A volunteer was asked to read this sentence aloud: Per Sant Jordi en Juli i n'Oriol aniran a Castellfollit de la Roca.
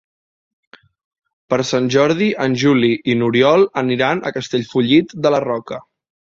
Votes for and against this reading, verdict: 4, 0, accepted